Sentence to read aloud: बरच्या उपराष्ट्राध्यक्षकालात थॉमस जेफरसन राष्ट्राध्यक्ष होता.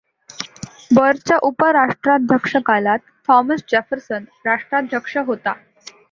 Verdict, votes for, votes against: accepted, 2, 0